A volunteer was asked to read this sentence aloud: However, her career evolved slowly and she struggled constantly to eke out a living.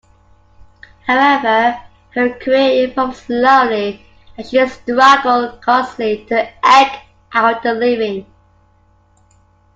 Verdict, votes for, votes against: rejected, 1, 2